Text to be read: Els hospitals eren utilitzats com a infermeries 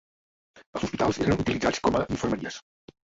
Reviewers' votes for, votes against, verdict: 3, 4, rejected